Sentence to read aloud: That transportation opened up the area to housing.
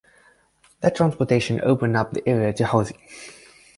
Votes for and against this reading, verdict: 6, 0, accepted